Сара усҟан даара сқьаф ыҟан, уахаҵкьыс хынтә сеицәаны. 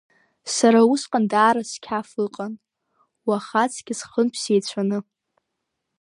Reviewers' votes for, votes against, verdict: 2, 1, accepted